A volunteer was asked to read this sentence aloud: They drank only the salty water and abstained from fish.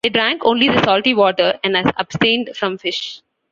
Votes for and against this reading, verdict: 2, 1, accepted